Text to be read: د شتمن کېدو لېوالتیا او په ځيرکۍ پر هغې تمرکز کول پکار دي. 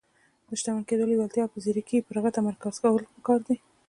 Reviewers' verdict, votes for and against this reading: rejected, 1, 2